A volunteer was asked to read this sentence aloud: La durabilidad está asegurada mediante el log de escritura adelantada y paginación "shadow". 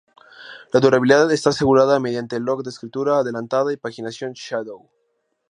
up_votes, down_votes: 0, 2